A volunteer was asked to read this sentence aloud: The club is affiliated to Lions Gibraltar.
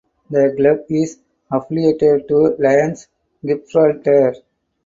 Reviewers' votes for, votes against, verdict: 4, 0, accepted